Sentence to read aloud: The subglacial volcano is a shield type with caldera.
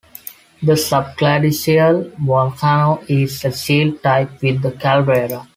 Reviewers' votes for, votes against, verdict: 2, 1, accepted